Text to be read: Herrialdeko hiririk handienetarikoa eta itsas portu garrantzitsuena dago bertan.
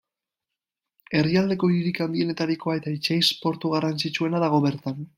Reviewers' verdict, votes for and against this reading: rejected, 1, 2